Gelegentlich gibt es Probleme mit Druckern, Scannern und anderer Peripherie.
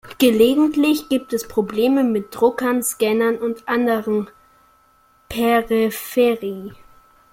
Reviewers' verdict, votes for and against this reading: rejected, 0, 2